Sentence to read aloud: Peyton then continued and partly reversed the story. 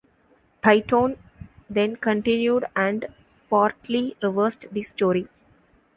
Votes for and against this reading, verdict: 1, 2, rejected